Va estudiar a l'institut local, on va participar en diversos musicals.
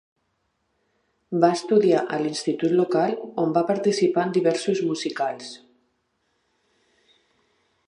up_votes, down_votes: 2, 0